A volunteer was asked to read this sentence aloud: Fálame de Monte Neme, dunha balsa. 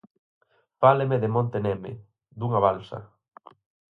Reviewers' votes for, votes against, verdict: 2, 4, rejected